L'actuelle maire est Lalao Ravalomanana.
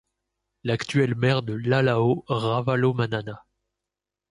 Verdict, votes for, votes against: rejected, 0, 2